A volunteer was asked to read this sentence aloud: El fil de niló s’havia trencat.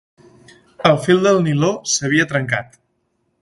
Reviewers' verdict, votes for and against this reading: rejected, 0, 2